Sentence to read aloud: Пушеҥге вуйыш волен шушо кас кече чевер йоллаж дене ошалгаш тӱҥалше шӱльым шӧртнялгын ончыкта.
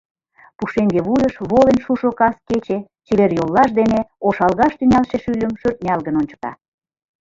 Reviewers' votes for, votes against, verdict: 1, 2, rejected